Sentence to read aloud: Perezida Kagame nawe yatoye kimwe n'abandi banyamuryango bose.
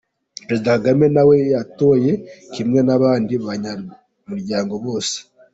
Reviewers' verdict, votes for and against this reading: accepted, 2, 1